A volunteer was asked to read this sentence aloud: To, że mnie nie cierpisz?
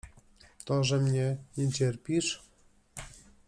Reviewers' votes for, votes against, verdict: 3, 0, accepted